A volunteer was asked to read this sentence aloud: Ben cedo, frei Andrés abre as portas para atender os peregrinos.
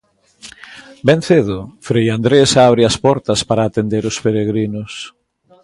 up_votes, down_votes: 2, 0